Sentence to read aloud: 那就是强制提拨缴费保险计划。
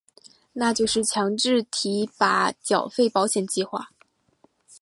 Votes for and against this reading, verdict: 0, 2, rejected